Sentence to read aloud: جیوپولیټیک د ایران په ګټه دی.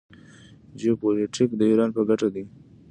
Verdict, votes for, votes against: accepted, 2, 0